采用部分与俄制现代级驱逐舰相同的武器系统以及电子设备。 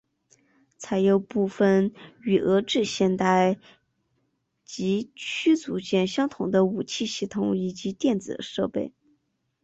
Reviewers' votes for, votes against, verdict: 5, 1, accepted